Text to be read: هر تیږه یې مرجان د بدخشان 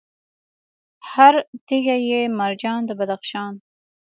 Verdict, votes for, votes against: accepted, 2, 0